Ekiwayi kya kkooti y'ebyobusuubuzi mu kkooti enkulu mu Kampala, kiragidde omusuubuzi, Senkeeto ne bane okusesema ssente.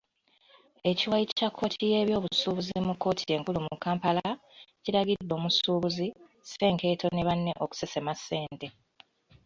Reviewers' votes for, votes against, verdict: 2, 0, accepted